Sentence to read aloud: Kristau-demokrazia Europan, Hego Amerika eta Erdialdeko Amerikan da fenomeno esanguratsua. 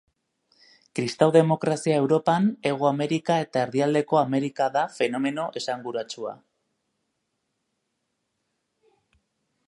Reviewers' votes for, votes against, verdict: 0, 2, rejected